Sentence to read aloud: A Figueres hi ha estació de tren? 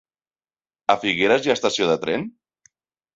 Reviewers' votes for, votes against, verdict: 4, 0, accepted